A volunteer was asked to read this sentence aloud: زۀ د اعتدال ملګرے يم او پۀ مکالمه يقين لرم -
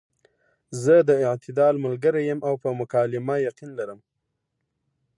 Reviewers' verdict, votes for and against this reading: accepted, 2, 0